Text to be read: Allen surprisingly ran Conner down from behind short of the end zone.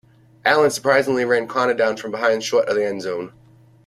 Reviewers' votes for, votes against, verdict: 3, 0, accepted